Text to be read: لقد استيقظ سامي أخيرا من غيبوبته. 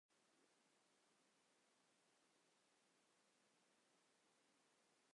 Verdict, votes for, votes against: rejected, 0, 3